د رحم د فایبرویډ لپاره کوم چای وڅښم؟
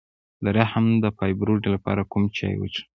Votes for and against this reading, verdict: 1, 2, rejected